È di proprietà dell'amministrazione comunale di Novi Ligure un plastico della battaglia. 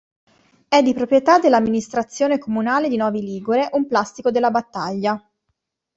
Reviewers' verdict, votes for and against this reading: accepted, 2, 0